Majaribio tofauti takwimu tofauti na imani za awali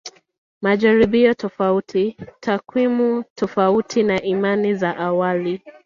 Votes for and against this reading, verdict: 1, 2, rejected